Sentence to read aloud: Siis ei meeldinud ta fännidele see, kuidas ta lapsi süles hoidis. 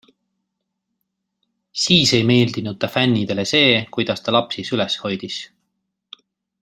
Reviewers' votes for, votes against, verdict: 2, 0, accepted